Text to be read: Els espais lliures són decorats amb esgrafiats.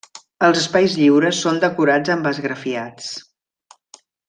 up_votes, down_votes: 3, 0